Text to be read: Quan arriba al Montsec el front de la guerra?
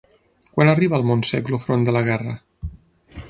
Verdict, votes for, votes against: rejected, 3, 6